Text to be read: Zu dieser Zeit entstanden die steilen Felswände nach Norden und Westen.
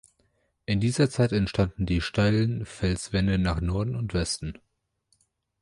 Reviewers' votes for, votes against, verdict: 0, 2, rejected